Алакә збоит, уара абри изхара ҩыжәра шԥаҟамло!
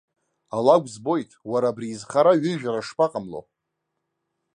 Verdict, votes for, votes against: accepted, 2, 0